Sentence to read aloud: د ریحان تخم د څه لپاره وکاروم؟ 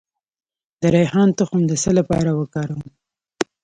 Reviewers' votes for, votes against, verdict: 2, 0, accepted